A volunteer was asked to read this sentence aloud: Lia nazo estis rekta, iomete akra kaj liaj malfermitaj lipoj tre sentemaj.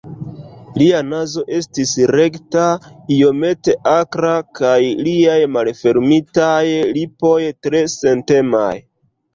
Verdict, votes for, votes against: accepted, 2, 1